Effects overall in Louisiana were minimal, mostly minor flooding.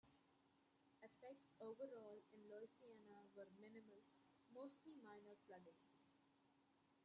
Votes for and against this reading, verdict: 0, 2, rejected